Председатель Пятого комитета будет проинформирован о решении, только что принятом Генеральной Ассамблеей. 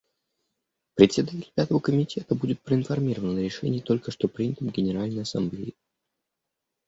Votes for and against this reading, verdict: 2, 0, accepted